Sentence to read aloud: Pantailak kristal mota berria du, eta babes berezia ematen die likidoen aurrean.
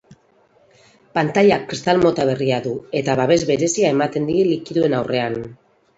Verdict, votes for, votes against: accepted, 4, 0